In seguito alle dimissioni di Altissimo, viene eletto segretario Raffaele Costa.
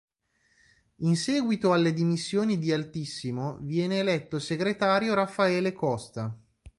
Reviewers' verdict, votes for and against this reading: accepted, 2, 0